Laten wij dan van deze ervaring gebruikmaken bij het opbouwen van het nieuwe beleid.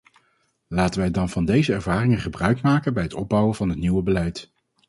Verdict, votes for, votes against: rejected, 0, 2